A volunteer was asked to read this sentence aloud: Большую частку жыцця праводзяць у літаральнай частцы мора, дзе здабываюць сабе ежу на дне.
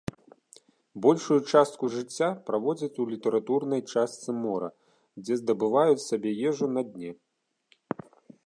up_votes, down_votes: 1, 2